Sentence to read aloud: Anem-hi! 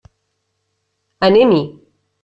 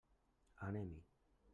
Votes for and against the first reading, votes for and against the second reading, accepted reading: 3, 0, 1, 2, first